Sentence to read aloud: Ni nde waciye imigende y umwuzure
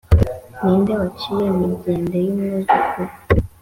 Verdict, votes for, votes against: accepted, 2, 0